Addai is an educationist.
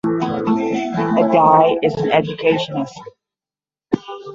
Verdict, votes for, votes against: rejected, 5, 10